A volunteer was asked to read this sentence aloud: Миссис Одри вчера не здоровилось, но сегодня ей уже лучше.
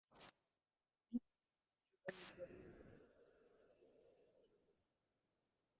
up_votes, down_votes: 0, 4